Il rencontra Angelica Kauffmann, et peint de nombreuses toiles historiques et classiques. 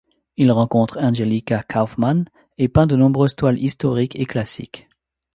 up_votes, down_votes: 1, 2